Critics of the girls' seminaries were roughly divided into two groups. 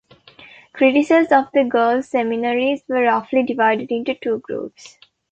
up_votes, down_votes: 1, 2